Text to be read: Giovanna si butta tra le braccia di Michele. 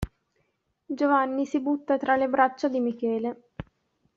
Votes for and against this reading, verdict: 1, 2, rejected